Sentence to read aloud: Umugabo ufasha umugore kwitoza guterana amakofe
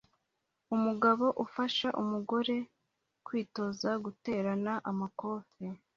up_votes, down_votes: 2, 0